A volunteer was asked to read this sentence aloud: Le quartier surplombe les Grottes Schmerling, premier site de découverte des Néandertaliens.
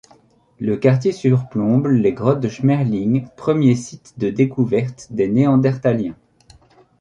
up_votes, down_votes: 2, 3